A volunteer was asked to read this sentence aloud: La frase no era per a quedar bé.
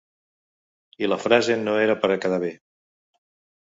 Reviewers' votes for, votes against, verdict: 0, 2, rejected